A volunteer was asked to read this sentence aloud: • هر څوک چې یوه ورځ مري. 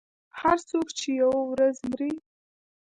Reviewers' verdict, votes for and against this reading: accepted, 2, 0